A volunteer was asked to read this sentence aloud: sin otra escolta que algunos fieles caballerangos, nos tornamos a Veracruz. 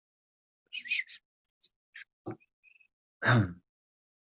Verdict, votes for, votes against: rejected, 0, 2